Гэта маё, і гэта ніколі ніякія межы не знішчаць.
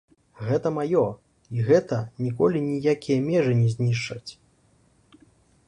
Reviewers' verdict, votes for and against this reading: accepted, 2, 0